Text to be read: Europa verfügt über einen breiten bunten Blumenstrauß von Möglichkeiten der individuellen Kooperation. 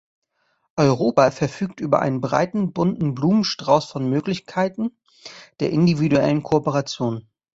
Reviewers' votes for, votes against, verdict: 2, 0, accepted